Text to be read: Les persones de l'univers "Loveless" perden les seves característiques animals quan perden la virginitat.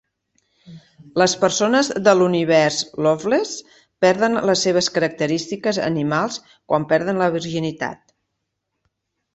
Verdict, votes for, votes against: accepted, 4, 0